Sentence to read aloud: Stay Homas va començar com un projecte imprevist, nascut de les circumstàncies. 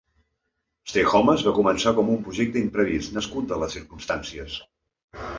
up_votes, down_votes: 2, 0